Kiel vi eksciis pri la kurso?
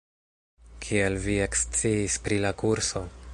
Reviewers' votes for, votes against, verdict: 1, 2, rejected